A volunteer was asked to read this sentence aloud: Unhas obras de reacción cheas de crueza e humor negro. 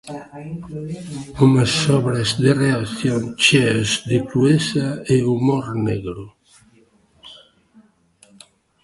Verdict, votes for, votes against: rejected, 1, 2